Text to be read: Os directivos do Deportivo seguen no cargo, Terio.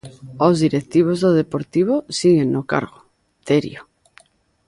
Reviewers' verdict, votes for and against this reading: rejected, 0, 2